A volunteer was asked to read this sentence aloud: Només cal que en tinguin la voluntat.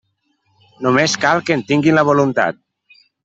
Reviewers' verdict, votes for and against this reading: accepted, 3, 0